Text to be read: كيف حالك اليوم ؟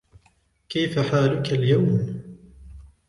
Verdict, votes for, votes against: rejected, 0, 2